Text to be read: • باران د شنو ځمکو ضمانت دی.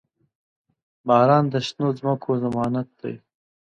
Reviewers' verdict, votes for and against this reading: accepted, 2, 0